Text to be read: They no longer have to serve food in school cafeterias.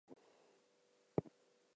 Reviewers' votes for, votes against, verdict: 0, 4, rejected